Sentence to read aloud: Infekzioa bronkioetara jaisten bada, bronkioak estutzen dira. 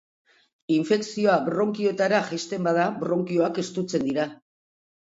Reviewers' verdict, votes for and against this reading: accepted, 2, 0